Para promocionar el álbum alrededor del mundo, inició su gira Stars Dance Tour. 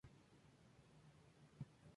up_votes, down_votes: 0, 2